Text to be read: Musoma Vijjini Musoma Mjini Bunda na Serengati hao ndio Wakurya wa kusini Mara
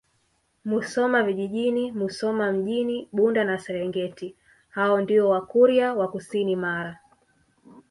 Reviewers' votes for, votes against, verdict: 1, 2, rejected